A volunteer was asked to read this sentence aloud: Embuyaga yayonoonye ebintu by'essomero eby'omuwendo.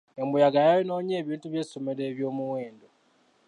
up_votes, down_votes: 2, 0